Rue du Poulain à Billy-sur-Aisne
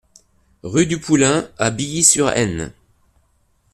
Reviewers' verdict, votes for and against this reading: accepted, 2, 0